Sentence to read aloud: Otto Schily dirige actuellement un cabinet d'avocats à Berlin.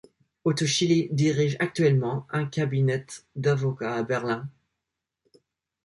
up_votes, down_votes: 1, 2